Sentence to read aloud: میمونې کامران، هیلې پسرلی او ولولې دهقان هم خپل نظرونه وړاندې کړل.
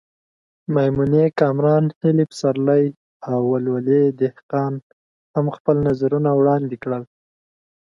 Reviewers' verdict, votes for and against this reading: accepted, 2, 0